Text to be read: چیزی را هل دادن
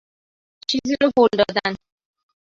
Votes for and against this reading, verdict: 1, 2, rejected